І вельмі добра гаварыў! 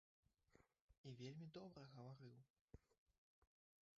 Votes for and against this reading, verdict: 0, 3, rejected